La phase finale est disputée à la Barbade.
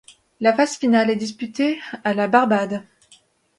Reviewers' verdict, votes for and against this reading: accepted, 2, 0